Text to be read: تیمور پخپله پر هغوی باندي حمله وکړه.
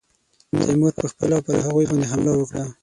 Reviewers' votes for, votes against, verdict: 6, 3, accepted